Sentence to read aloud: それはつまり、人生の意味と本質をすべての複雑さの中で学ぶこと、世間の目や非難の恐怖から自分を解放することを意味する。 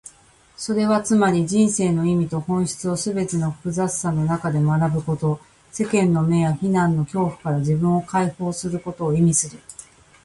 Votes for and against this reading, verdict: 1, 2, rejected